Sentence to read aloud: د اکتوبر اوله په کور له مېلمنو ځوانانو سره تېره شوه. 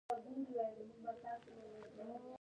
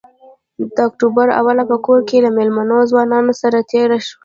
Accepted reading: second